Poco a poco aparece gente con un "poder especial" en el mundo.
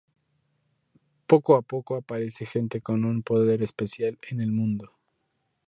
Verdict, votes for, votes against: rejected, 0, 2